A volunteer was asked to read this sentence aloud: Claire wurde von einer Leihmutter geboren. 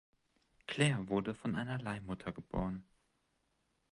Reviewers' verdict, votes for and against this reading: accepted, 2, 0